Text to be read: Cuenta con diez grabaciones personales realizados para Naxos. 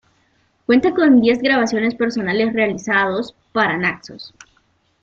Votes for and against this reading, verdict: 2, 1, accepted